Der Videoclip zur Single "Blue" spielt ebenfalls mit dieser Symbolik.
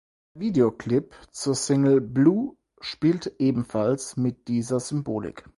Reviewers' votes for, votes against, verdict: 0, 4, rejected